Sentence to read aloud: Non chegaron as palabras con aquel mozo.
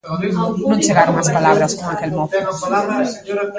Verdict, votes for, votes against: rejected, 0, 2